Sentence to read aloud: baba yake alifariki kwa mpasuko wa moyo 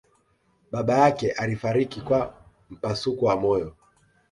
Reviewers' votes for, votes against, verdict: 2, 1, accepted